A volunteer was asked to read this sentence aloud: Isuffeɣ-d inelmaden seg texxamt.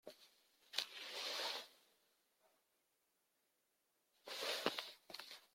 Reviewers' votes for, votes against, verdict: 0, 2, rejected